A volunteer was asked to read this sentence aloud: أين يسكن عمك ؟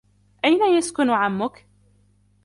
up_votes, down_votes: 2, 0